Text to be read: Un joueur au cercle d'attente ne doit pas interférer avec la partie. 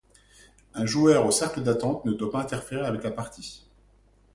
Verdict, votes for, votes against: accepted, 2, 0